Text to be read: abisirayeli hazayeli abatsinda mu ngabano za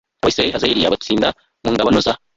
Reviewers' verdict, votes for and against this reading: rejected, 1, 2